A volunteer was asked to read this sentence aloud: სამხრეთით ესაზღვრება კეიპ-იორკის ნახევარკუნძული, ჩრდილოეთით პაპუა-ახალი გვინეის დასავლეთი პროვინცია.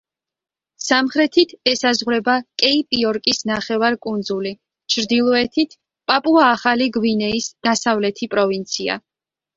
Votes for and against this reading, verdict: 2, 0, accepted